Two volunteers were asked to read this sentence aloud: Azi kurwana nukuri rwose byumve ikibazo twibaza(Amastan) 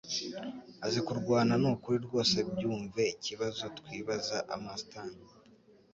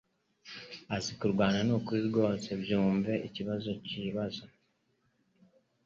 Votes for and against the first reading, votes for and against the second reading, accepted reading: 2, 0, 1, 2, first